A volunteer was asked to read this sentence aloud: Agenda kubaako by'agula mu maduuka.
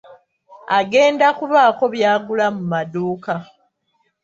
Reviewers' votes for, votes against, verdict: 2, 1, accepted